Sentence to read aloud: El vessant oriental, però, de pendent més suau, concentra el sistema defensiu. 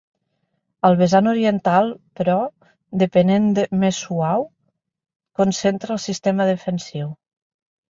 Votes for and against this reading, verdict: 0, 2, rejected